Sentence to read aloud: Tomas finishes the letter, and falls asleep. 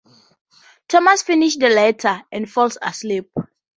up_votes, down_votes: 4, 0